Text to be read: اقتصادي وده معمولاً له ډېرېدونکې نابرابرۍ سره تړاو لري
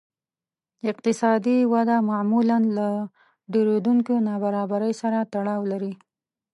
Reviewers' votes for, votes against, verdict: 3, 0, accepted